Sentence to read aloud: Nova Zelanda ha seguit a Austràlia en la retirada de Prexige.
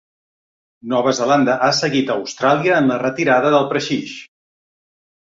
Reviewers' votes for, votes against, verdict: 3, 1, accepted